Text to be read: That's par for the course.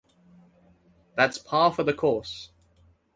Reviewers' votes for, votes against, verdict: 4, 0, accepted